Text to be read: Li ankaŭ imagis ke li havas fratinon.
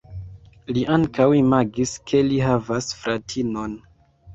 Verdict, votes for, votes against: accepted, 2, 0